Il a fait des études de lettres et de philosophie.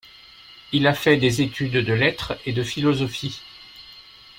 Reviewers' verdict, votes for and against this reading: accepted, 2, 0